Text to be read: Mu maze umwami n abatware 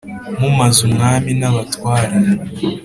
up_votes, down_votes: 3, 0